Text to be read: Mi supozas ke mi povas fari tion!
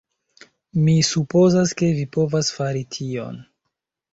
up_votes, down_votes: 0, 2